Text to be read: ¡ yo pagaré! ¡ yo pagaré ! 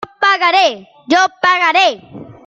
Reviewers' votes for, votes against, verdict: 1, 2, rejected